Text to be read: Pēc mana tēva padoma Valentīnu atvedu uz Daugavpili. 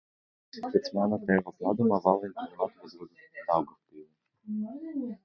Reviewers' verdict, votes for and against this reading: rejected, 0, 2